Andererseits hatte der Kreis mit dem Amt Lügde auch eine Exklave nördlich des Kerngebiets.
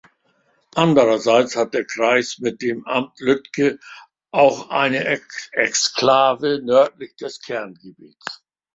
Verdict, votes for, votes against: rejected, 0, 2